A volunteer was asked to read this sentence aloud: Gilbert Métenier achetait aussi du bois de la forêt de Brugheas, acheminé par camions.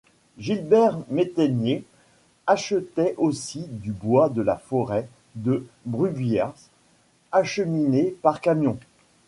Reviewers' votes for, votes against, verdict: 2, 1, accepted